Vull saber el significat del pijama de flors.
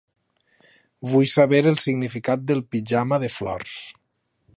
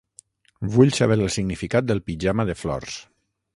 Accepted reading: first